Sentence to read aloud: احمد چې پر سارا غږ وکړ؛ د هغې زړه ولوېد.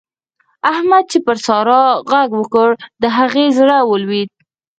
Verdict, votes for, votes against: rejected, 2, 4